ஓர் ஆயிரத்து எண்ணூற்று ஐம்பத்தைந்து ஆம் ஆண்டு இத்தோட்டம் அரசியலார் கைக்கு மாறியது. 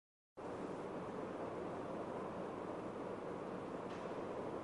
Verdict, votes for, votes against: rejected, 0, 2